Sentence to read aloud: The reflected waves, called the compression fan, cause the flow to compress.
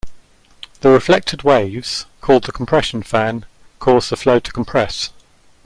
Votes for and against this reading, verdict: 2, 0, accepted